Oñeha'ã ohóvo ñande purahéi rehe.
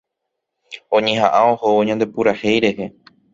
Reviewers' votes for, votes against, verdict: 0, 2, rejected